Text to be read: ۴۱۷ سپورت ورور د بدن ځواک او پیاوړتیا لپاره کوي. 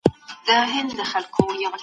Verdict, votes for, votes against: rejected, 0, 2